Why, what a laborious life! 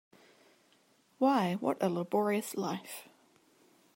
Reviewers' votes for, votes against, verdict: 2, 0, accepted